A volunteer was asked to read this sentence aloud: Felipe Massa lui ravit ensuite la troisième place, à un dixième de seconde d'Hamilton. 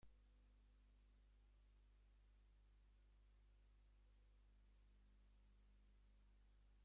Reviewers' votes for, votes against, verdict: 0, 2, rejected